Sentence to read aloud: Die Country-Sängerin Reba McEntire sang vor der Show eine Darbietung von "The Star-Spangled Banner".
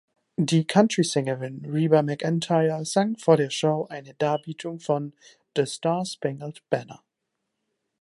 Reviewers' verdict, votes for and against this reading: accepted, 3, 0